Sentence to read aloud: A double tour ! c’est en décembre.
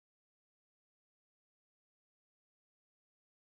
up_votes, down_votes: 0, 2